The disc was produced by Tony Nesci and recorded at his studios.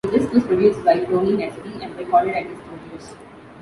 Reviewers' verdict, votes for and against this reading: rejected, 1, 2